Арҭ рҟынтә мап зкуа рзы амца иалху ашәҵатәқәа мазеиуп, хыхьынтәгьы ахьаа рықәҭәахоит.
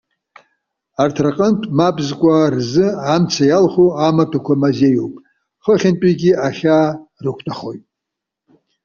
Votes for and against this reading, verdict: 0, 2, rejected